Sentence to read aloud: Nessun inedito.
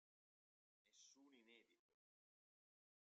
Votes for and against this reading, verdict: 0, 2, rejected